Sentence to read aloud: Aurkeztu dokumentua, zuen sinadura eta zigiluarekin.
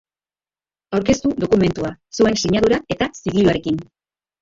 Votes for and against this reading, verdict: 0, 2, rejected